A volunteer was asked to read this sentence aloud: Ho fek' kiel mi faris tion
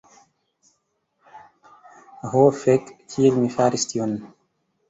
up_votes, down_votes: 2, 0